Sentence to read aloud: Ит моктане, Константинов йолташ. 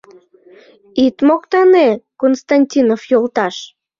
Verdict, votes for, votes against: accepted, 2, 0